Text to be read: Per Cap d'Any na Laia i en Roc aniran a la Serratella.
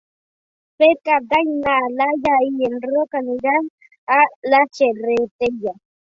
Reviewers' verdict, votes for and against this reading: rejected, 0, 2